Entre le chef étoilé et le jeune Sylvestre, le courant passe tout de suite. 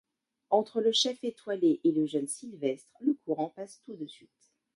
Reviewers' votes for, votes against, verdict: 1, 2, rejected